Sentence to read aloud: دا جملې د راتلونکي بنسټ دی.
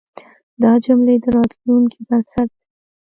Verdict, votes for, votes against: accepted, 2, 0